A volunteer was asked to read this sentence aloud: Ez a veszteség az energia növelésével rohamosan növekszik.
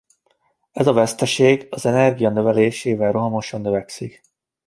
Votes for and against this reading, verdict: 2, 0, accepted